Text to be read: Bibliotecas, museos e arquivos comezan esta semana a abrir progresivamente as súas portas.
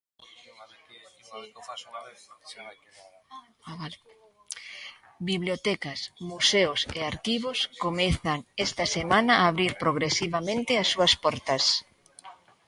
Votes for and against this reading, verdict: 2, 1, accepted